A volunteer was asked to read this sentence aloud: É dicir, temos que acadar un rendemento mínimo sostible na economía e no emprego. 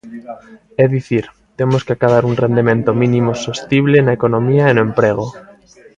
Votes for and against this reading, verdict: 2, 0, accepted